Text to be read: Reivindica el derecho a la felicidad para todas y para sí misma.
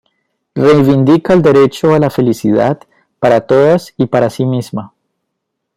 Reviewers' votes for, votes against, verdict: 2, 0, accepted